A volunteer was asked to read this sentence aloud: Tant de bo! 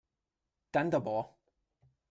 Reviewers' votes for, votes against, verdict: 1, 2, rejected